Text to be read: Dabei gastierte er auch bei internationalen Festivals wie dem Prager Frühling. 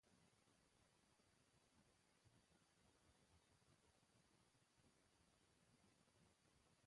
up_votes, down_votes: 0, 2